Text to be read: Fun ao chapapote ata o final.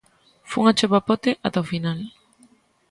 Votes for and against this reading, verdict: 3, 0, accepted